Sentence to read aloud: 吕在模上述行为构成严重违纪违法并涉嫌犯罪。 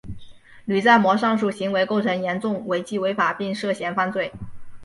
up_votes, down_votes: 2, 0